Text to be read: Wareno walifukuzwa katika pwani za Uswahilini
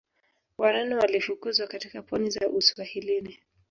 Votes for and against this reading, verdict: 4, 1, accepted